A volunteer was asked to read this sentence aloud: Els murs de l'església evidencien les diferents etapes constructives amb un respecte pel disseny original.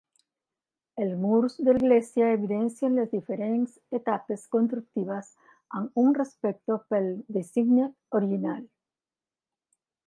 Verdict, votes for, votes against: rejected, 0, 2